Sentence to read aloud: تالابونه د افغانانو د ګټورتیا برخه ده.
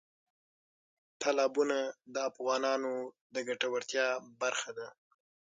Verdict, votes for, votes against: rejected, 3, 6